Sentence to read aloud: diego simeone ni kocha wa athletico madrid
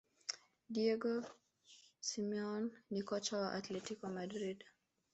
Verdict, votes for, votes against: accepted, 2, 0